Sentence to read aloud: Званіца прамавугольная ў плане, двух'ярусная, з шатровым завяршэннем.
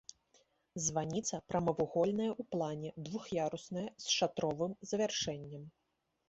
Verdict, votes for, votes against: accepted, 2, 0